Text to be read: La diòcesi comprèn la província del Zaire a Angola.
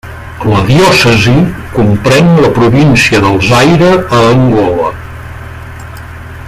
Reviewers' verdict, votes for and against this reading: accepted, 5, 2